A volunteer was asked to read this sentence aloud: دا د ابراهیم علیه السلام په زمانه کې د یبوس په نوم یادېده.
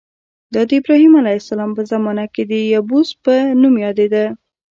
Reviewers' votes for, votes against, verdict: 0, 2, rejected